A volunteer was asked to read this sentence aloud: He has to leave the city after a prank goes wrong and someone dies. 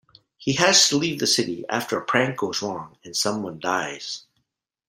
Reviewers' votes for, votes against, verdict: 2, 0, accepted